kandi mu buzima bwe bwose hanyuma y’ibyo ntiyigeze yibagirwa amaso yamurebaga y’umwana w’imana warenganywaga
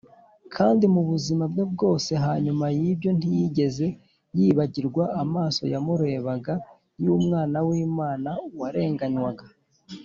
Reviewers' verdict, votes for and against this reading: accepted, 2, 0